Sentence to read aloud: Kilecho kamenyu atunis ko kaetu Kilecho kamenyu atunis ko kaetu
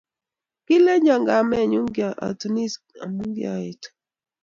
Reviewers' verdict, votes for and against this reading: rejected, 1, 2